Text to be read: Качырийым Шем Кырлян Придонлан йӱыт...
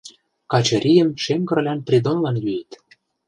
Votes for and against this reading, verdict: 2, 0, accepted